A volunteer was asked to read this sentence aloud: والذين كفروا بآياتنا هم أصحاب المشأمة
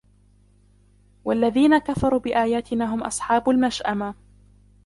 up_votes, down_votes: 0, 2